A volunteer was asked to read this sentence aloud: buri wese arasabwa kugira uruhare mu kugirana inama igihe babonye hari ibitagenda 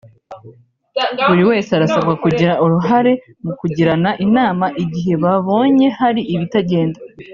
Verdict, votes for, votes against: accepted, 2, 1